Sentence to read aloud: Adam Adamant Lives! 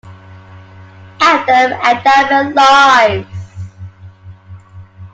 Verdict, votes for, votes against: rejected, 0, 2